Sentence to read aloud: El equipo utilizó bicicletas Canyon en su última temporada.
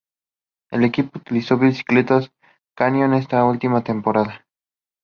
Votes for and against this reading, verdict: 2, 0, accepted